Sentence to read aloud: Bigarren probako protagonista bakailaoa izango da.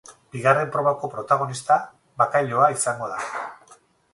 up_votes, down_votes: 0, 2